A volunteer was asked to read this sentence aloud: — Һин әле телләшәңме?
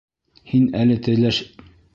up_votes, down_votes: 1, 2